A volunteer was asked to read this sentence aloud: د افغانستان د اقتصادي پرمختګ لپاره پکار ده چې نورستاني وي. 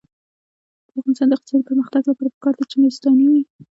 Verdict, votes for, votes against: rejected, 1, 2